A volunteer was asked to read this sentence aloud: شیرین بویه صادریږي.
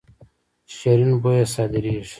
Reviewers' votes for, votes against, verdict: 1, 2, rejected